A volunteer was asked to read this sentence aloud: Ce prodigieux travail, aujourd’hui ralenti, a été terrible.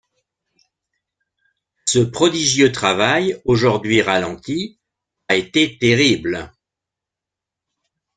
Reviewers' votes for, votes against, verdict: 2, 0, accepted